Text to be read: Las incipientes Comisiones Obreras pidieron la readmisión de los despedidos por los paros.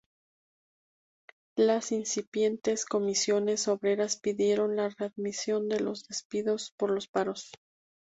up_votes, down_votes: 2, 2